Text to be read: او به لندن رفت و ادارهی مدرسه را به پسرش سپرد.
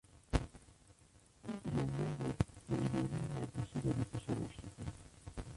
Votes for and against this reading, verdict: 0, 2, rejected